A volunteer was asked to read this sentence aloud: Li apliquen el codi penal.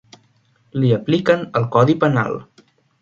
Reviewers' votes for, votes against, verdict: 3, 0, accepted